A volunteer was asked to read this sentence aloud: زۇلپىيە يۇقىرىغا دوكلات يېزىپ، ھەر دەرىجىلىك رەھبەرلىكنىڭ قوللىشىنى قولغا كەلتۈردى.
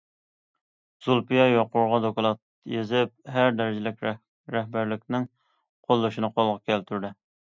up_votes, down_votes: 0, 2